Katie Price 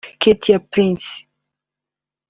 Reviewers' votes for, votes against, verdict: 2, 1, accepted